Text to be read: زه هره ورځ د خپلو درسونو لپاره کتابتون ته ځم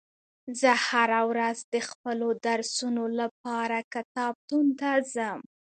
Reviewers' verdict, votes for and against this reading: accepted, 2, 0